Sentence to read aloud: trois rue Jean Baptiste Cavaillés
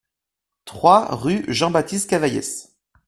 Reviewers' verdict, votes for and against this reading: rejected, 1, 2